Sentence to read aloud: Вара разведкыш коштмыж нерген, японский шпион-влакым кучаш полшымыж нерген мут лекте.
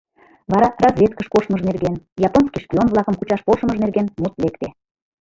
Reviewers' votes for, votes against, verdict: 1, 2, rejected